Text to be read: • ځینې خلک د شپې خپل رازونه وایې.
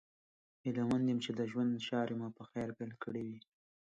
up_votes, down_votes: 0, 2